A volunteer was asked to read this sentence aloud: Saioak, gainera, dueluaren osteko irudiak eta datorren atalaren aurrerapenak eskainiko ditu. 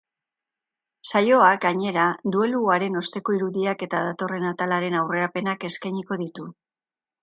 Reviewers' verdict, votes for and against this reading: accepted, 2, 0